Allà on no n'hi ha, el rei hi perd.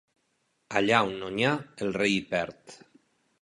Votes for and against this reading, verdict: 2, 0, accepted